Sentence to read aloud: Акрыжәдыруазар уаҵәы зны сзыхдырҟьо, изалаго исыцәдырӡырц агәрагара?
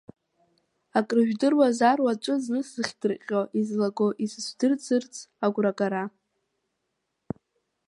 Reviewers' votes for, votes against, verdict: 2, 0, accepted